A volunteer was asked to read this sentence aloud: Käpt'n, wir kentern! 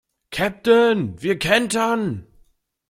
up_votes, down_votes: 2, 0